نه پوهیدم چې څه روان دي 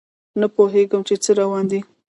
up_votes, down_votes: 0, 2